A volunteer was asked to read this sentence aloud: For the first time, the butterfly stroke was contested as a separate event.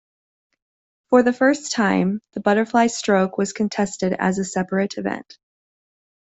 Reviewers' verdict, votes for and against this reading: accepted, 2, 1